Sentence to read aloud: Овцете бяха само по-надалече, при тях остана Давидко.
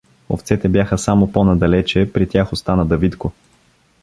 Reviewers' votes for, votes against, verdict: 2, 0, accepted